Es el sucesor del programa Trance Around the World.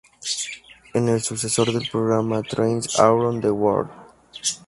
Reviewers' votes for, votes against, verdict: 0, 2, rejected